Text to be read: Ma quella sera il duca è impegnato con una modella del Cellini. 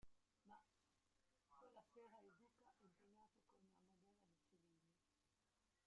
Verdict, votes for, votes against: rejected, 0, 2